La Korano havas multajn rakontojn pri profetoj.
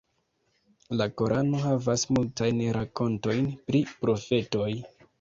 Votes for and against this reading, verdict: 2, 0, accepted